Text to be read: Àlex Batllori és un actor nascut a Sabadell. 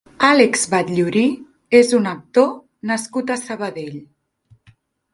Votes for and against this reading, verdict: 1, 3, rejected